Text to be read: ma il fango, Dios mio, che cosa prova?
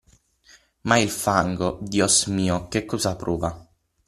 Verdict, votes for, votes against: accepted, 6, 0